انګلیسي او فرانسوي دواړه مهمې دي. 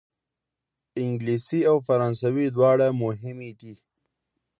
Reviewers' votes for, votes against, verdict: 2, 0, accepted